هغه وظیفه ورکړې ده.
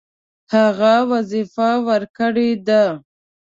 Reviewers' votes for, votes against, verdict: 2, 0, accepted